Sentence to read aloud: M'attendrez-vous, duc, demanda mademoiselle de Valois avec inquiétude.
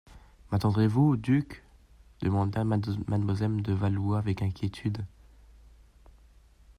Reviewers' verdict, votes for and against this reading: rejected, 1, 2